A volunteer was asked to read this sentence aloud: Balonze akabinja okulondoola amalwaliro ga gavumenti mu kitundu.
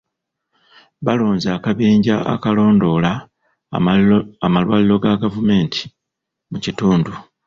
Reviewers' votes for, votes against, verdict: 0, 2, rejected